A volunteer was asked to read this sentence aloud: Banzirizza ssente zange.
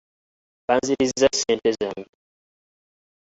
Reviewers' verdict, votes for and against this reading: rejected, 0, 2